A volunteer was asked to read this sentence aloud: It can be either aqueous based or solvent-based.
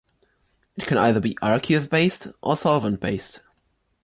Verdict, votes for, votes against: accepted, 2, 0